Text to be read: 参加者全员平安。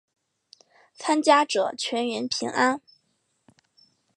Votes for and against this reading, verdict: 2, 0, accepted